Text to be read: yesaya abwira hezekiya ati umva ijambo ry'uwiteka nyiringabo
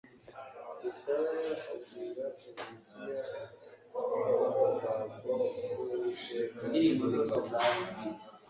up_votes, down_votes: 2, 1